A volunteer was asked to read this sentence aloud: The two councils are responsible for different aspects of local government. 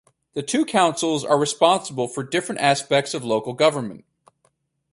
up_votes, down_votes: 2, 2